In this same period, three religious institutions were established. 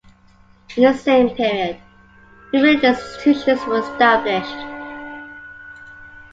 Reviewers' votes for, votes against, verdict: 0, 3, rejected